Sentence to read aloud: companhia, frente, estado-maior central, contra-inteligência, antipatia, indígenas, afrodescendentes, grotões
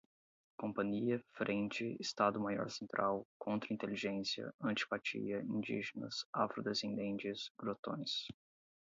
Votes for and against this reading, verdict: 8, 0, accepted